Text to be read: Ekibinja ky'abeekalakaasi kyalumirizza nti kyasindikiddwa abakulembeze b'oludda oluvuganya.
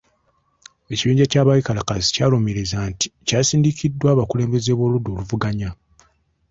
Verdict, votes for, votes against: accepted, 2, 0